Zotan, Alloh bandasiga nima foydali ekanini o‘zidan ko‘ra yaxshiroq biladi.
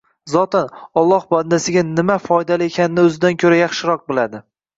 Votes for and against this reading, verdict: 2, 0, accepted